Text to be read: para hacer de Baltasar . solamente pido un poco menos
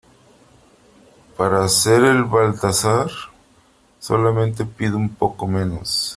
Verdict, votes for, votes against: rejected, 1, 3